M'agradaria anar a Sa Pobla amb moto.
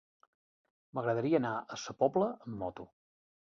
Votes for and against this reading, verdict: 4, 0, accepted